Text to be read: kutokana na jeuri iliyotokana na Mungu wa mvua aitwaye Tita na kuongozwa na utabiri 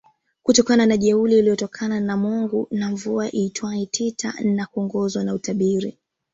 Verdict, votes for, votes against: rejected, 0, 2